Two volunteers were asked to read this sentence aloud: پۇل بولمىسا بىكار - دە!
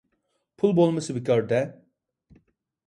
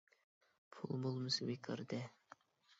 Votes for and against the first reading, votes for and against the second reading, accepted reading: 2, 0, 0, 2, first